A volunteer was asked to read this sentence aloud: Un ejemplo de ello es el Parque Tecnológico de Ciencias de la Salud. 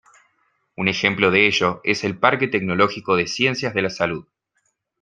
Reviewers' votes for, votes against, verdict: 0, 2, rejected